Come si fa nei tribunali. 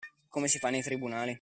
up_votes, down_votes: 2, 0